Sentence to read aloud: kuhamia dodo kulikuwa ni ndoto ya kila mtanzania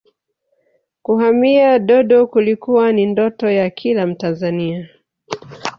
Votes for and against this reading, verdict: 1, 2, rejected